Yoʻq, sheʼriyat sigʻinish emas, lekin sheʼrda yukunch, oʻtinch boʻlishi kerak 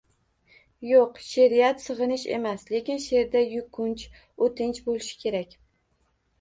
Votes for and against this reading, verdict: 2, 0, accepted